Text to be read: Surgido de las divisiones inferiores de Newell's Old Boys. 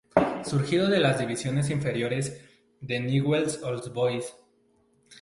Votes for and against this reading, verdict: 2, 0, accepted